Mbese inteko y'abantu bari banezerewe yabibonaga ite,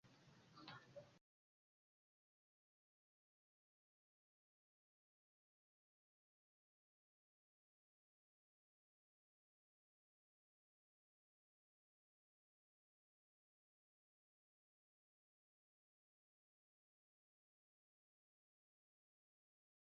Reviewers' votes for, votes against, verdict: 1, 2, rejected